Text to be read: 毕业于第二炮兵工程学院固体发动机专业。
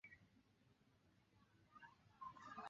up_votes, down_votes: 0, 2